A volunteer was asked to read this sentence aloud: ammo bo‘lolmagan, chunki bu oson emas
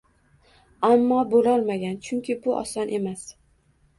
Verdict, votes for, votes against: rejected, 1, 2